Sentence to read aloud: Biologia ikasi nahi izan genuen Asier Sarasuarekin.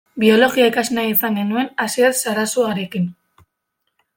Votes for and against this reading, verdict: 2, 1, accepted